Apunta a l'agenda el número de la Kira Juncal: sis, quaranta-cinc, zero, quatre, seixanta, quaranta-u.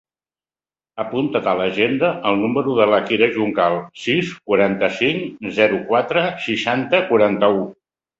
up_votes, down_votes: 1, 2